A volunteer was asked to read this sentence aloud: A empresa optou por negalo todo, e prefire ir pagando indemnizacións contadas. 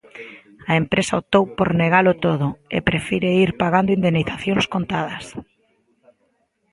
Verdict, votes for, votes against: accepted, 2, 0